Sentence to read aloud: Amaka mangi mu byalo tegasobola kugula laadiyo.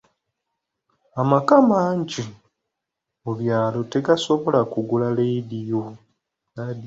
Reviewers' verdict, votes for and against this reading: accepted, 2, 0